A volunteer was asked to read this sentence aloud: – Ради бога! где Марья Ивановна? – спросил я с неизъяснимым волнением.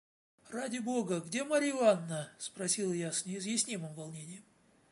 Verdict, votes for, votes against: rejected, 1, 2